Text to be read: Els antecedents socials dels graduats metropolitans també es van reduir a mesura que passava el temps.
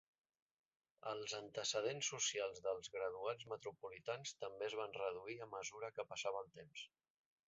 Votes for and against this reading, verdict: 3, 0, accepted